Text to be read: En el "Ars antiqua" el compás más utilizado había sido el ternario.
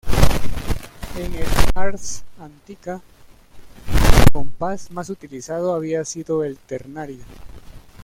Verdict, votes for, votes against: rejected, 1, 2